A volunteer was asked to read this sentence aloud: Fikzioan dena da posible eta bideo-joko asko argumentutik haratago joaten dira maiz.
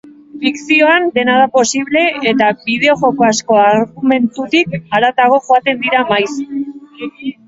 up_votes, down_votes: 1, 2